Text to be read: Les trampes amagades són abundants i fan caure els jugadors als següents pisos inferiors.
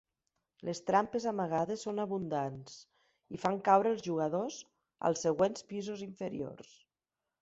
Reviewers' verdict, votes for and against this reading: accepted, 5, 0